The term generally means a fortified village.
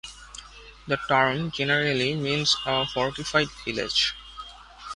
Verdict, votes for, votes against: accepted, 2, 1